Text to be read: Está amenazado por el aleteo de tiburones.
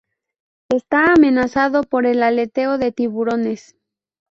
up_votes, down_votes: 2, 0